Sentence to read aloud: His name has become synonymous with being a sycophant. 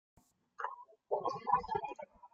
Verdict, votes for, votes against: rejected, 0, 2